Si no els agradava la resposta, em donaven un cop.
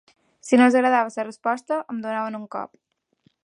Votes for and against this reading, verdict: 2, 0, accepted